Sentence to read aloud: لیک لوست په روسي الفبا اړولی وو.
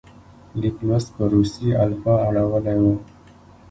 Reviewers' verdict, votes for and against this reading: rejected, 0, 2